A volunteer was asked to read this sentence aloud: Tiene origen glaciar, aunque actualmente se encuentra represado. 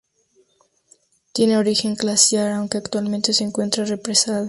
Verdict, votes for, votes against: accepted, 2, 0